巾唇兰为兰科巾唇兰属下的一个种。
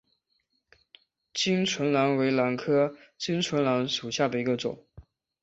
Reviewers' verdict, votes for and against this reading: accepted, 2, 0